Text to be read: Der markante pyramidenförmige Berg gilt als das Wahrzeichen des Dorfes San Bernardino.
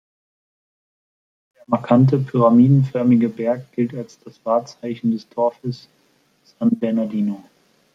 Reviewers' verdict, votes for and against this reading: accepted, 2, 1